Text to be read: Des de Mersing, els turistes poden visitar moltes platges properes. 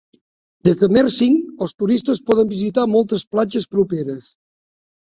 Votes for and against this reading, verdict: 7, 0, accepted